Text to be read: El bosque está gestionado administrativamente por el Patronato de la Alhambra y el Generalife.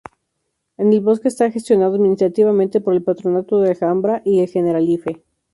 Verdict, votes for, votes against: rejected, 0, 2